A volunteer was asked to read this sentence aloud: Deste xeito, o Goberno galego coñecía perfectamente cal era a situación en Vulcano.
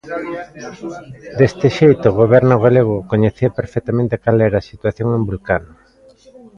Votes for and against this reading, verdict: 1, 2, rejected